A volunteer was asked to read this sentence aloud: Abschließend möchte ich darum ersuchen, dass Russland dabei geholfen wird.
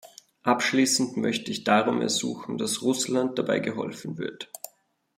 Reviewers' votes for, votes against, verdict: 2, 0, accepted